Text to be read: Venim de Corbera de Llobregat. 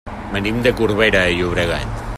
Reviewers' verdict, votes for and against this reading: rejected, 0, 2